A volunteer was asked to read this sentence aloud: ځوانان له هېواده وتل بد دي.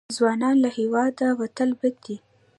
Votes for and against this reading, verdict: 0, 2, rejected